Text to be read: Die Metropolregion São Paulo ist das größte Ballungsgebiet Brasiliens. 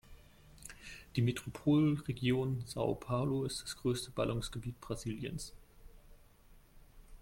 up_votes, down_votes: 1, 2